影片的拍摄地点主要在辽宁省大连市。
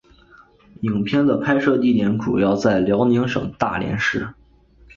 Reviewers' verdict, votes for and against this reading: accepted, 2, 0